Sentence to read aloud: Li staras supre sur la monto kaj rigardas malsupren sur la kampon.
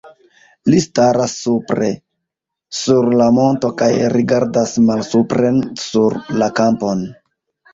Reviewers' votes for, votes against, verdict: 0, 2, rejected